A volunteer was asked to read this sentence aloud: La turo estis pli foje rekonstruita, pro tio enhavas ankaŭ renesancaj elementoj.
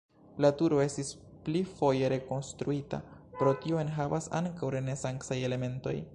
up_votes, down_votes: 2, 0